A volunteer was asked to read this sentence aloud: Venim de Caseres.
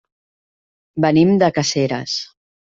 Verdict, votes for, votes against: rejected, 1, 2